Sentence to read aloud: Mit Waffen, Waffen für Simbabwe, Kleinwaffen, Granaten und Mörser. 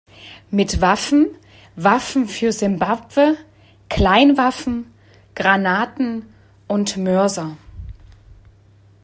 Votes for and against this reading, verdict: 2, 0, accepted